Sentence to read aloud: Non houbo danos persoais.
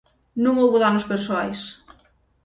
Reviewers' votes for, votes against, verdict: 6, 0, accepted